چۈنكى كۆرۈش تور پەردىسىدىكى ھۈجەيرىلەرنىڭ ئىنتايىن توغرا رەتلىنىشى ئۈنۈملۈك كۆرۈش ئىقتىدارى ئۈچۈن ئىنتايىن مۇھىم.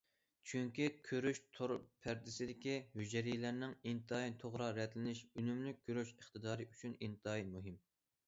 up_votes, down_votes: 2, 0